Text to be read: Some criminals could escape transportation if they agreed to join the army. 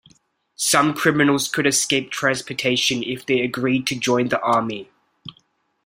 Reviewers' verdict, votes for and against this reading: accepted, 2, 0